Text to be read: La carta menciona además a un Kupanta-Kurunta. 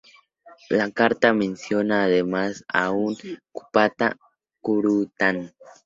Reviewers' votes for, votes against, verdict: 0, 2, rejected